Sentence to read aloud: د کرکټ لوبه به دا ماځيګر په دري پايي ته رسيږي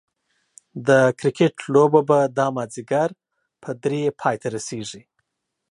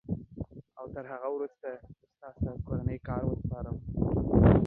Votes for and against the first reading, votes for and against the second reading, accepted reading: 2, 0, 0, 2, first